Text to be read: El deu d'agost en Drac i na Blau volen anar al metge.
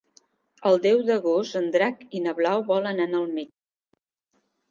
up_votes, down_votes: 0, 2